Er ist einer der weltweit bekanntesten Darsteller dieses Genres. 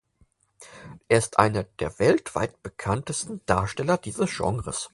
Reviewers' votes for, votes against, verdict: 4, 0, accepted